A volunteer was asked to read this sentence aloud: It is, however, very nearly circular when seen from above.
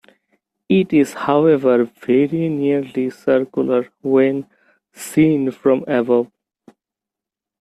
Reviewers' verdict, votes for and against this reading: accepted, 2, 0